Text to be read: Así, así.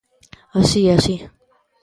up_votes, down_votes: 2, 0